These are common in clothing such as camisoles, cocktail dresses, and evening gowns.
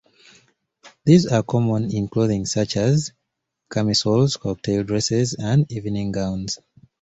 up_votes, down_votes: 2, 0